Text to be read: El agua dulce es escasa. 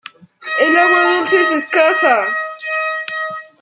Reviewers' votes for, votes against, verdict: 1, 2, rejected